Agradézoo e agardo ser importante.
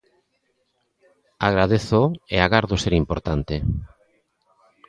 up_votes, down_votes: 3, 0